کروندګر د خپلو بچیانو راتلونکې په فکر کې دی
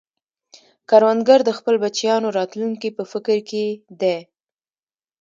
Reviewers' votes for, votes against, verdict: 2, 0, accepted